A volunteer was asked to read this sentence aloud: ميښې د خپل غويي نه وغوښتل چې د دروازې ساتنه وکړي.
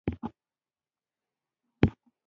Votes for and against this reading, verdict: 0, 2, rejected